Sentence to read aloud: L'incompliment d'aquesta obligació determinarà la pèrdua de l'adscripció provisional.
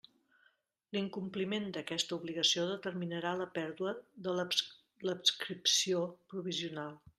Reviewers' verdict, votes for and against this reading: rejected, 0, 2